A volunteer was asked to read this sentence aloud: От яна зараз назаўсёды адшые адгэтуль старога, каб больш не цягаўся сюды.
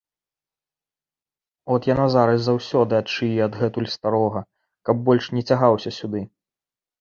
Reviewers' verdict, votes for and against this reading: rejected, 1, 2